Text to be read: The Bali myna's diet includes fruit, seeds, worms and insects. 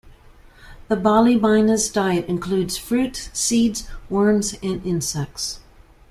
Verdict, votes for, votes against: accepted, 2, 0